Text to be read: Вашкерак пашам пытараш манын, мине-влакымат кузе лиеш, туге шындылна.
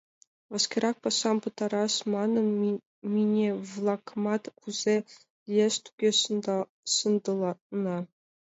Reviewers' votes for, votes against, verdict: 1, 2, rejected